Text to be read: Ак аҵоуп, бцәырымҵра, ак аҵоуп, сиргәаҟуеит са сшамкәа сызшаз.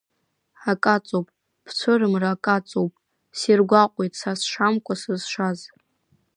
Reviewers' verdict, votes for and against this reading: rejected, 0, 2